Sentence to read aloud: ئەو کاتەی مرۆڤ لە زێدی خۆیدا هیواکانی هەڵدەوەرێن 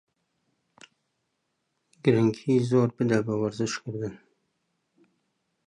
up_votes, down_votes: 0, 2